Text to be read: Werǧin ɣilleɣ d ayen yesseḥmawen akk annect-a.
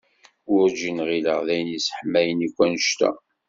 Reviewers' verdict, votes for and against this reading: accepted, 2, 0